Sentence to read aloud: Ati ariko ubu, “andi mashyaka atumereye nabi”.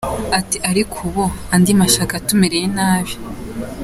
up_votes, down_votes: 2, 0